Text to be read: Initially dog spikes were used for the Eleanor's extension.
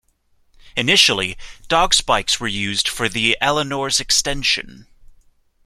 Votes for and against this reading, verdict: 2, 0, accepted